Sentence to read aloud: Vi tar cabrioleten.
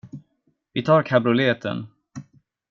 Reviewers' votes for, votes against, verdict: 1, 2, rejected